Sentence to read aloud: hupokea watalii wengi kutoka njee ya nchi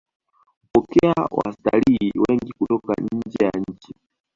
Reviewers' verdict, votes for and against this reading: accepted, 2, 1